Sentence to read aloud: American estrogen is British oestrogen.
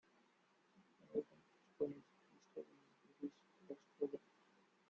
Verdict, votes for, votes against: rejected, 0, 2